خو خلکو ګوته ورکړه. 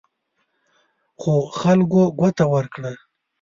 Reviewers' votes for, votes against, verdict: 3, 0, accepted